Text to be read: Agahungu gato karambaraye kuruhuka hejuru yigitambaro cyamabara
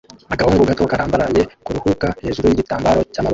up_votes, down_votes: 0, 2